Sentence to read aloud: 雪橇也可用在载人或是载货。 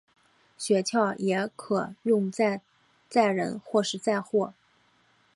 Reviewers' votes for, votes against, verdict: 2, 0, accepted